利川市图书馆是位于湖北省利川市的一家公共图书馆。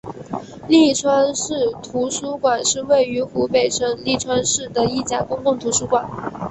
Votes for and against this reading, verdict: 2, 0, accepted